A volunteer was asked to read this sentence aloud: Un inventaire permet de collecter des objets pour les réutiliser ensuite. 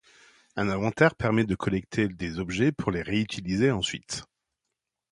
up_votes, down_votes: 2, 0